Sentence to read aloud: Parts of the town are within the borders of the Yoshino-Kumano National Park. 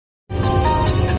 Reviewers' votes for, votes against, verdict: 0, 2, rejected